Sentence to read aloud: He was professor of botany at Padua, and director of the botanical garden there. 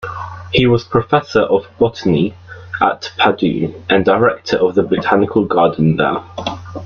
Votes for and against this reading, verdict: 1, 2, rejected